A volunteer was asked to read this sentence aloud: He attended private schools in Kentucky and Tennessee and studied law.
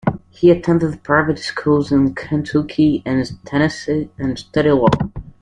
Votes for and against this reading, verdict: 2, 1, accepted